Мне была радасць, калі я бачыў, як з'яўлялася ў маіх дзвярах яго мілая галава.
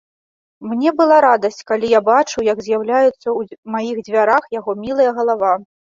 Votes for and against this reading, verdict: 0, 2, rejected